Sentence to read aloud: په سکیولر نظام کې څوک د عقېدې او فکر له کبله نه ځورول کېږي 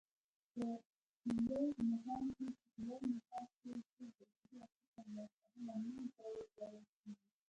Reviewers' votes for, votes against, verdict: 1, 2, rejected